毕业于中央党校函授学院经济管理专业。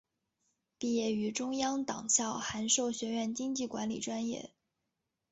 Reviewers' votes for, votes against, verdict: 2, 0, accepted